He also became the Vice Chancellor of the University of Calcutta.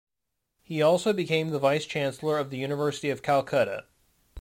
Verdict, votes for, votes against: accepted, 2, 0